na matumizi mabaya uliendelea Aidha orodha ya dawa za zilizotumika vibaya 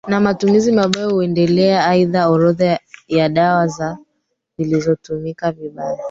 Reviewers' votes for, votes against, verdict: 0, 2, rejected